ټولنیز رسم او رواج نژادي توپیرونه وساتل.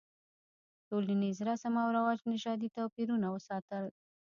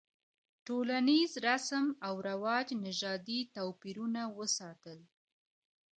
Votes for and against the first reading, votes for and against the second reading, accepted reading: 1, 2, 2, 1, second